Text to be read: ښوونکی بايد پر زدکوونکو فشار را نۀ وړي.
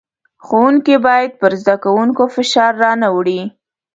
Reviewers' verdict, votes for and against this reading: accepted, 2, 0